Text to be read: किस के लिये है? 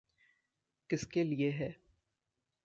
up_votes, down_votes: 1, 2